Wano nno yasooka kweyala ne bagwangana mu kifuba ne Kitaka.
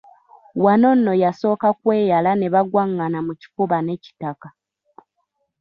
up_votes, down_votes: 2, 1